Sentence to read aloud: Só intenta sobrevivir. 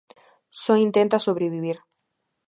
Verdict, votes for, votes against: accepted, 2, 0